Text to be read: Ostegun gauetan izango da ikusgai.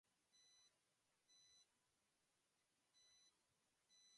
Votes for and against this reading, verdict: 0, 2, rejected